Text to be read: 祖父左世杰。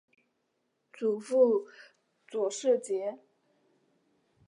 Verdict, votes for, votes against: accepted, 2, 0